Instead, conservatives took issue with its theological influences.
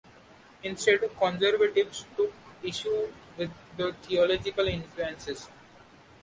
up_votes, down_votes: 2, 0